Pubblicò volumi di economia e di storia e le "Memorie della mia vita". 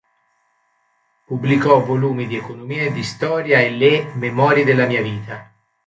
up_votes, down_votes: 2, 1